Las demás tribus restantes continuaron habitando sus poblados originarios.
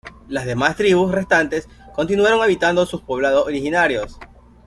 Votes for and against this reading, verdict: 1, 2, rejected